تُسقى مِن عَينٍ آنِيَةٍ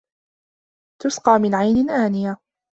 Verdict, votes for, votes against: accepted, 2, 0